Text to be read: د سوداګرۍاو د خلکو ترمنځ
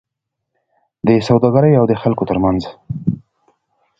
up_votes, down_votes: 2, 0